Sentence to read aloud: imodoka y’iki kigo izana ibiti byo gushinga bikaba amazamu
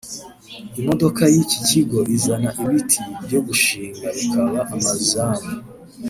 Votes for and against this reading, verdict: 1, 2, rejected